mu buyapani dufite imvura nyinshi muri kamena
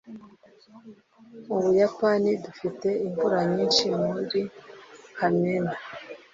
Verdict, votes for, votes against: accepted, 2, 0